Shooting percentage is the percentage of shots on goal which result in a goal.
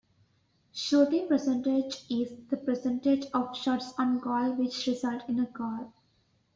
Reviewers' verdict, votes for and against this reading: accepted, 3, 1